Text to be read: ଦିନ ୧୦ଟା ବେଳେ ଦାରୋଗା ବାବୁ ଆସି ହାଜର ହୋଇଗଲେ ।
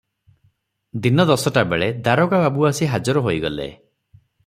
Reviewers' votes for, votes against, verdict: 0, 2, rejected